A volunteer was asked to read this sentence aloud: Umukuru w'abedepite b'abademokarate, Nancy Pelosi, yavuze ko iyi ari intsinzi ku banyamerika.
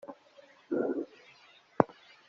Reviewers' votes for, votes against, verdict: 0, 2, rejected